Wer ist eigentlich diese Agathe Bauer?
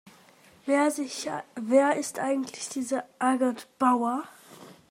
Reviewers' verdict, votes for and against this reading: rejected, 0, 2